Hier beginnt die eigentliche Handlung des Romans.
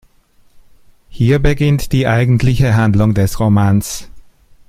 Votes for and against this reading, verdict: 2, 0, accepted